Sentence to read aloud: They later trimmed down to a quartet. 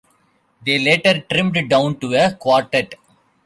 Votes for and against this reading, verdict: 1, 2, rejected